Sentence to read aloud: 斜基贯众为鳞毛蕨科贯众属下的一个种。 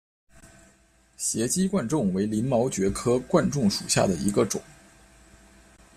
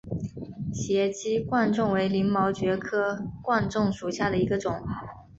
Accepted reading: second